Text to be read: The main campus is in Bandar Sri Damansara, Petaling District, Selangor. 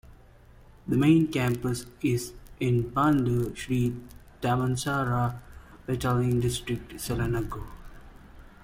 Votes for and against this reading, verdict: 2, 0, accepted